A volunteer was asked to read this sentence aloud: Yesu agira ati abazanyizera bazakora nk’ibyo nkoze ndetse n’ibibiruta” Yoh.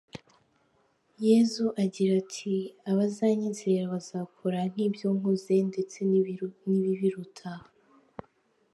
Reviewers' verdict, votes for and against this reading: rejected, 0, 2